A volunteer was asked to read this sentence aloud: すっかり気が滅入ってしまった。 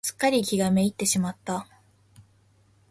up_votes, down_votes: 0, 2